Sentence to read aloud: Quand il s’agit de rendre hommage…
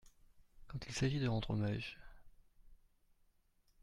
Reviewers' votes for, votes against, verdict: 2, 1, accepted